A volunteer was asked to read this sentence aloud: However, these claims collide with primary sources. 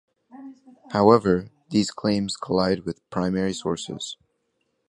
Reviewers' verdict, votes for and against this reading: accepted, 2, 0